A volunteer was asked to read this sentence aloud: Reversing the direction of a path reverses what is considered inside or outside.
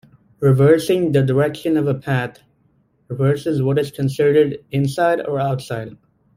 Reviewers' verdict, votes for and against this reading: rejected, 0, 2